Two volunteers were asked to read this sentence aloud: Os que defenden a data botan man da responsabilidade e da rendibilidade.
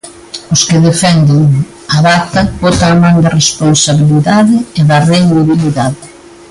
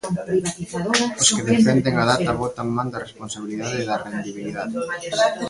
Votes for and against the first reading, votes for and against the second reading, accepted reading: 2, 0, 0, 2, first